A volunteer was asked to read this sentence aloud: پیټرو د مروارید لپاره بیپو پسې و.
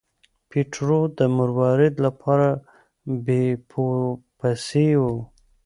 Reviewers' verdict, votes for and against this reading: accepted, 2, 0